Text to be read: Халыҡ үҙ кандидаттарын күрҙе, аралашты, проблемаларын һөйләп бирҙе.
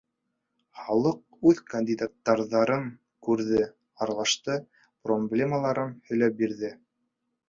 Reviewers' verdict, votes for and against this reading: accepted, 2, 0